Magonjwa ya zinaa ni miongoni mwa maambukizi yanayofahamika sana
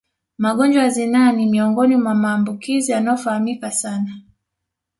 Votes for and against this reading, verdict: 2, 0, accepted